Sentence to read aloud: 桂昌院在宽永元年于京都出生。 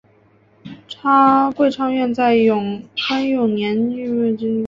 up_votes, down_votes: 0, 2